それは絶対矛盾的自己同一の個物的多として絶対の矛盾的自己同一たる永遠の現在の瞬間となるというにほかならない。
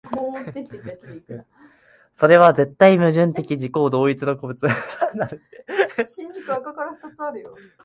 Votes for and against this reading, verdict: 0, 2, rejected